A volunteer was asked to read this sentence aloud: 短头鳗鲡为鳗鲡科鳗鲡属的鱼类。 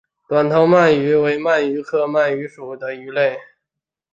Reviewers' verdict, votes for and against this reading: rejected, 2, 3